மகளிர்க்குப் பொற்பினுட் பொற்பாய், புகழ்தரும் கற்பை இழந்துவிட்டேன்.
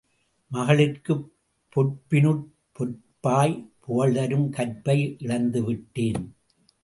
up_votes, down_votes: 2, 0